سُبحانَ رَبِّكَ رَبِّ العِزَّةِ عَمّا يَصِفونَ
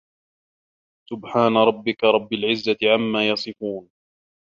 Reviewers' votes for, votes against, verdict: 0, 2, rejected